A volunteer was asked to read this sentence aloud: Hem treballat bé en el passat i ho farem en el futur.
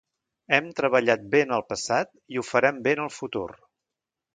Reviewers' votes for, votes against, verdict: 1, 2, rejected